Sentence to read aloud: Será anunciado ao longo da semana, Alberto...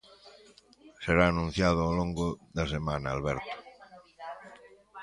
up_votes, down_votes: 1, 2